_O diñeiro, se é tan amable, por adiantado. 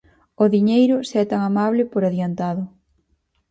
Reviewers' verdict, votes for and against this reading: accepted, 4, 0